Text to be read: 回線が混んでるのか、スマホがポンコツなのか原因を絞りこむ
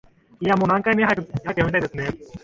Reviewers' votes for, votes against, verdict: 0, 5, rejected